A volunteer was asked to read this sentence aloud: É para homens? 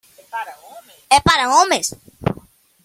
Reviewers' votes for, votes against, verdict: 1, 2, rejected